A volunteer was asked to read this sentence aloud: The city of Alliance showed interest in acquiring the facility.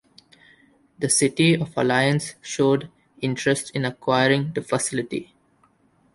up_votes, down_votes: 2, 0